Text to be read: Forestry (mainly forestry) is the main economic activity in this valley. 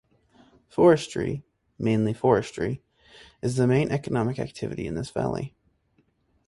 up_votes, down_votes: 6, 0